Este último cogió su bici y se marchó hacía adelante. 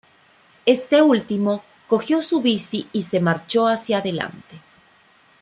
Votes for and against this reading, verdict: 2, 0, accepted